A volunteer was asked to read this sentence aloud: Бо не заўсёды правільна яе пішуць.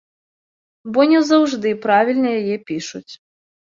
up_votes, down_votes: 0, 2